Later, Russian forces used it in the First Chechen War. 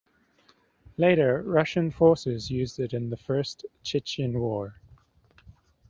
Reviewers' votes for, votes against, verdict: 2, 0, accepted